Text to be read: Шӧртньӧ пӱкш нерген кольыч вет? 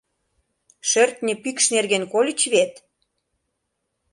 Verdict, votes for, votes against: accepted, 2, 0